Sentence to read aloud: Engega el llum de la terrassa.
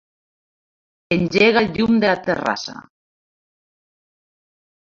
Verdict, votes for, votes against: rejected, 0, 2